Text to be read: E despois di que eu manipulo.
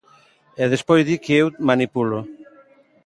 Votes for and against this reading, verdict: 2, 0, accepted